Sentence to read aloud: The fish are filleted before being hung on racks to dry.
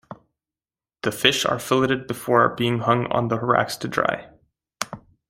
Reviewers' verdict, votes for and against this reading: rejected, 0, 2